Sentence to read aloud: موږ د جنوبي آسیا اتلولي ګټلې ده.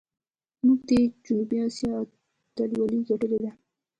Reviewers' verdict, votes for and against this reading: rejected, 1, 2